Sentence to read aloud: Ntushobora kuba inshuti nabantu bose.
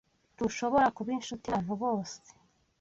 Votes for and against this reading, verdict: 1, 2, rejected